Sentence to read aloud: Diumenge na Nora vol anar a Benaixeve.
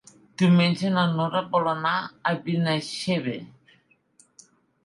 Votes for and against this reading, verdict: 1, 2, rejected